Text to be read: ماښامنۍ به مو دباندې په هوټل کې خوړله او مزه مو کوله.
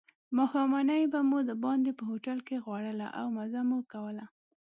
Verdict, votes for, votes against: accepted, 3, 1